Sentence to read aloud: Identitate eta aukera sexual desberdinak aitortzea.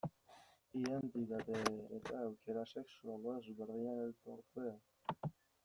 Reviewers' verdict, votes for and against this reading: rejected, 0, 2